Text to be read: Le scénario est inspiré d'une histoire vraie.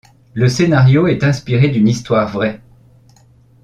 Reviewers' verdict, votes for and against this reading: accepted, 2, 0